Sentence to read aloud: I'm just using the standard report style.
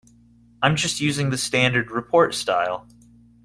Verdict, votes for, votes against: accepted, 2, 0